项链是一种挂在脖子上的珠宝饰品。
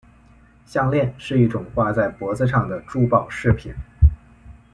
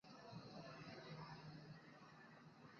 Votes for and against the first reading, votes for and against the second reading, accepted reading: 2, 0, 0, 3, first